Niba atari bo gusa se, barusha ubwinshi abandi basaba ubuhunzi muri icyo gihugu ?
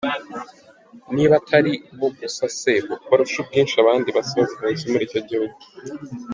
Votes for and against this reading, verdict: 2, 1, accepted